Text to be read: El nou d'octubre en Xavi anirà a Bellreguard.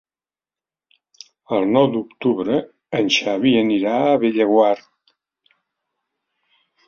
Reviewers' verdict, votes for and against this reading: rejected, 1, 2